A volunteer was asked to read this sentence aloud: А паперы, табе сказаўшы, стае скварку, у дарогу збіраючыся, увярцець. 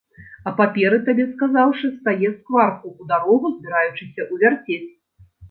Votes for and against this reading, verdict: 1, 2, rejected